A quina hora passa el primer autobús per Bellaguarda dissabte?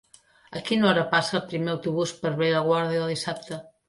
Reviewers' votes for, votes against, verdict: 2, 0, accepted